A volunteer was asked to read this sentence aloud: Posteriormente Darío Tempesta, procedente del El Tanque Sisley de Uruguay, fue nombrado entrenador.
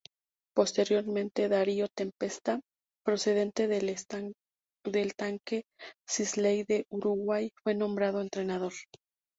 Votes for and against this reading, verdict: 0, 2, rejected